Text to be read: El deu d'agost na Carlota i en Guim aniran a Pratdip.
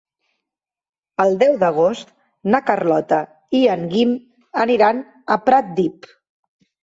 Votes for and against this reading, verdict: 3, 1, accepted